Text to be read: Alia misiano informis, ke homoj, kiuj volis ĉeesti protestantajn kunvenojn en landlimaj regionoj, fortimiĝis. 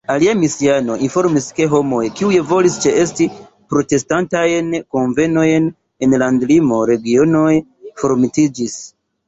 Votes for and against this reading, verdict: 0, 2, rejected